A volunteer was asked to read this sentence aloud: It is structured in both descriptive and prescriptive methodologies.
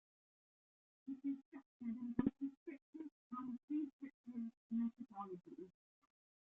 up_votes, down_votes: 0, 2